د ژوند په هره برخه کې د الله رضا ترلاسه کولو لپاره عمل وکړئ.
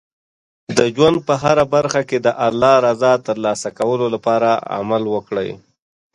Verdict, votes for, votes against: accepted, 2, 0